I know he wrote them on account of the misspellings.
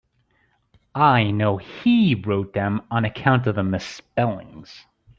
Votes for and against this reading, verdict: 2, 0, accepted